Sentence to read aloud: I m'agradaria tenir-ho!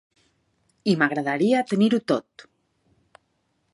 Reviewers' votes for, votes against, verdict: 0, 2, rejected